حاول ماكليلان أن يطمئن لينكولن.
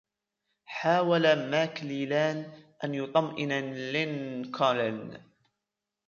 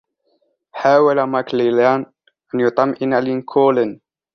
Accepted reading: second